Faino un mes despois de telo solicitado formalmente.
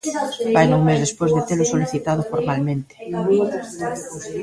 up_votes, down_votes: 0, 2